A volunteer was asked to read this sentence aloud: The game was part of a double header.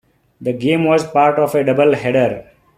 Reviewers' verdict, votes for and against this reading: accepted, 2, 0